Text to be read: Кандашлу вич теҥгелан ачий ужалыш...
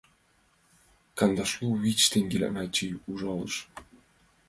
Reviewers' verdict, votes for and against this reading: accepted, 2, 0